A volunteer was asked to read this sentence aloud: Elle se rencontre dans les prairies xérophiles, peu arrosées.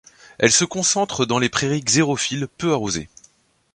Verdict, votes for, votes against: rejected, 0, 2